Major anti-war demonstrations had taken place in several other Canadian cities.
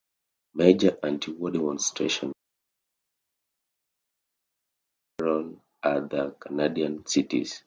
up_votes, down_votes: 0, 2